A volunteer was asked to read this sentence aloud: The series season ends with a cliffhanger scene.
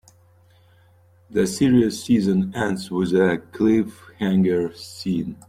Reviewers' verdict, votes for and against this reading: accepted, 2, 0